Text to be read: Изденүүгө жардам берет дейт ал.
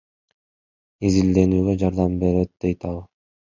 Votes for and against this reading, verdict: 2, 1, accepted